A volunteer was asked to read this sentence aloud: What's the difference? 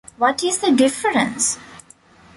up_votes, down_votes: 1, 2